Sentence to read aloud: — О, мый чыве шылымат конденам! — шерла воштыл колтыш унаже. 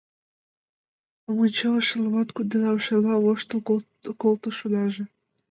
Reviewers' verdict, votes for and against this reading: rejected, 0, 2